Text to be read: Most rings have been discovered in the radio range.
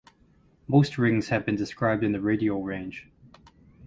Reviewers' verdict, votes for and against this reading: rejected, 0, 4